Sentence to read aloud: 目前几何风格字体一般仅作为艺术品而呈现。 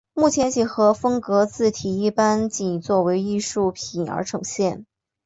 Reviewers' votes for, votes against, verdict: 4, 0, accepted